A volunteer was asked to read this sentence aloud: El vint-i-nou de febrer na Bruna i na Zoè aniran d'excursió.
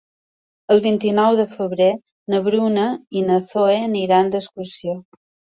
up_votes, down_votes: 2, 0